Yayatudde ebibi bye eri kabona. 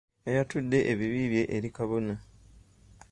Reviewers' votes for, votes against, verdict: 2, 0, accepted